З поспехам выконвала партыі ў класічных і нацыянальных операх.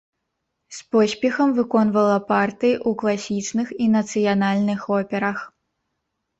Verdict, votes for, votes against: rejected, 1, 2